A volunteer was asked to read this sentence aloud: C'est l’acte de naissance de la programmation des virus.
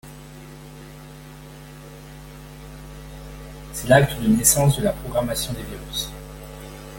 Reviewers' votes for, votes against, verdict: 0, 2, rejected